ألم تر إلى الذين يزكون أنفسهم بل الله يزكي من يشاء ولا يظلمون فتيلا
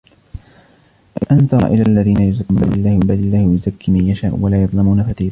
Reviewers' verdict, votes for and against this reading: rejected, 1, 2